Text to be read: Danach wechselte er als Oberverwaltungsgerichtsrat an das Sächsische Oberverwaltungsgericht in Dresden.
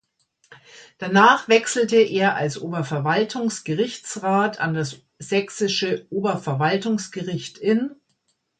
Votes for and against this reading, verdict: 1, 2, rejected